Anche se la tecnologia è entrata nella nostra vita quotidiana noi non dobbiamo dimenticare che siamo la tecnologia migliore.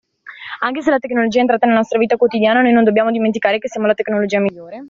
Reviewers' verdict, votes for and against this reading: rejected, 1, 2